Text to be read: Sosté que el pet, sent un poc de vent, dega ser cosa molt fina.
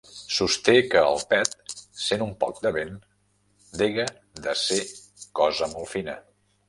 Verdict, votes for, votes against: rejected, 0, 2